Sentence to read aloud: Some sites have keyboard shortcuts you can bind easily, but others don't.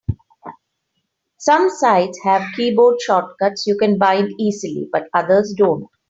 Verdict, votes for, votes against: accepted, 2, 0